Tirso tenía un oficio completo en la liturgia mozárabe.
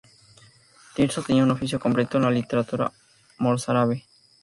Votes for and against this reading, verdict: 0, 4, rejected